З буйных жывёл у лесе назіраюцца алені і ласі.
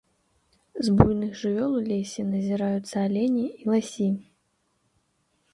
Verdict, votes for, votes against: accepted, 3, 0